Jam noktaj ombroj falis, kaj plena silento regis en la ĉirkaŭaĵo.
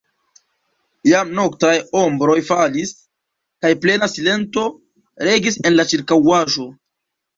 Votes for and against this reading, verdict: 2, 0, accepted